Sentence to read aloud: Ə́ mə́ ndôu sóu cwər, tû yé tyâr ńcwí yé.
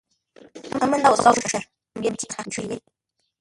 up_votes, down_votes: 0, 2